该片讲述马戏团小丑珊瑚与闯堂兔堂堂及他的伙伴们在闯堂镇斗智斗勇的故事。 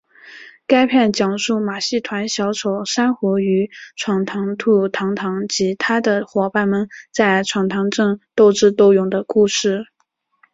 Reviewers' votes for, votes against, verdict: 4, 0, accepted